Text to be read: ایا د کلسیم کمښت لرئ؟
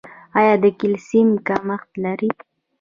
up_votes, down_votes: 2, 1